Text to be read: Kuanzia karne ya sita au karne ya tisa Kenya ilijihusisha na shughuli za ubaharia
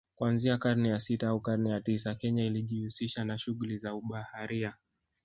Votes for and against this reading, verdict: 1, 2, rejected